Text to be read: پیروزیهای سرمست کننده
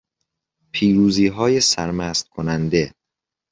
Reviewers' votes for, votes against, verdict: 2, 0, accepted